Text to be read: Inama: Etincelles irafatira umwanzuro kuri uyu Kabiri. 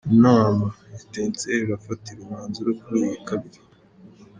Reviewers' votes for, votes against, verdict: 2, 1, accepted